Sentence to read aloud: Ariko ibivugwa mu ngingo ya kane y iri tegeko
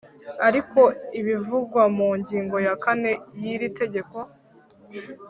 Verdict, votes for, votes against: accepted, 3, 0